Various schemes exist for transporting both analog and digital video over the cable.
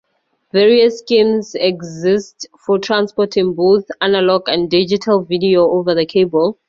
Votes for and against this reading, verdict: 2, 0, accepted